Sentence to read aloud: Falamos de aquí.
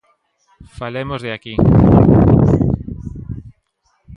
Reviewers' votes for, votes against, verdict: 0, 2, rejected